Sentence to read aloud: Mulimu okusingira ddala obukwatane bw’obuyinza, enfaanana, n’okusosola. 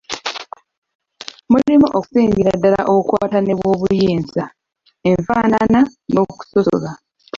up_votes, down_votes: 1, 2